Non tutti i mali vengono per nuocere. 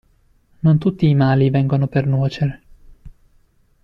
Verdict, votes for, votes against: accepted, 2, 0